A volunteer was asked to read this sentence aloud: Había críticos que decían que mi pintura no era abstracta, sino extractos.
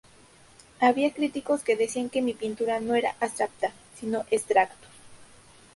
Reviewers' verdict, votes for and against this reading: accepted, 2, 0